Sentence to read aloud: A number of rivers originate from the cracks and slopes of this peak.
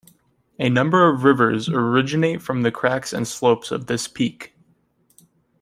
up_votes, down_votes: 2, 0